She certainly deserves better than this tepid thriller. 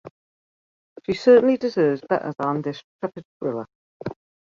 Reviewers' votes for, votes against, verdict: 2, 1, accepted